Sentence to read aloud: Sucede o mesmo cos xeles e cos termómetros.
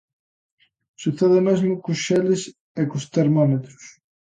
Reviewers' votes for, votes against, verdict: 2, 0, accepted